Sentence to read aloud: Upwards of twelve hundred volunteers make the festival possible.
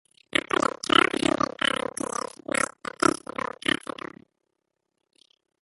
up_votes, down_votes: 1, 2